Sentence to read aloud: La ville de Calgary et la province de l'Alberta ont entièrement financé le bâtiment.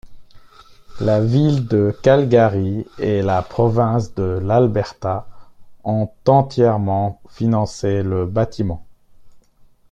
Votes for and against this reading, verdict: 1, 2, rejected